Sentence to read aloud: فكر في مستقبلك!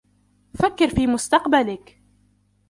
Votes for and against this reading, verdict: 1, 2, rejected